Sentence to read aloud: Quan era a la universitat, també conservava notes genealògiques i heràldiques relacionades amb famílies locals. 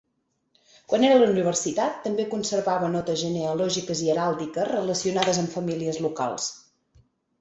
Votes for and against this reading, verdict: 4, 2, accepted